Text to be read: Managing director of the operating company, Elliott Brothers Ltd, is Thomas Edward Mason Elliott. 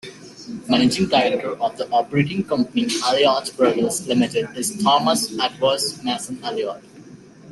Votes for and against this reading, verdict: 0, 2, rejected